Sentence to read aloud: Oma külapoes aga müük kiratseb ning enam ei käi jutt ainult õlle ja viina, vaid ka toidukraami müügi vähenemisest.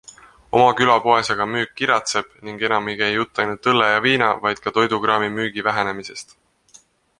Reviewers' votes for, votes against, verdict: 3, 1, accepted